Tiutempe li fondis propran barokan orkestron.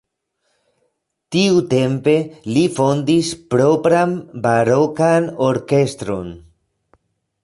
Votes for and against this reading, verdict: 0, 2, rejected